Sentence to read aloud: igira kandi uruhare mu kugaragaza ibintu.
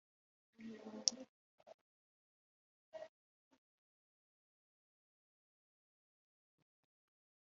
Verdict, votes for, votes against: rejected, 1, 2